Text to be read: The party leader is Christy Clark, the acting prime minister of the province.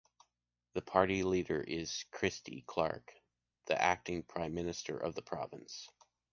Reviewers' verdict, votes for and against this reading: accepted, 2, 0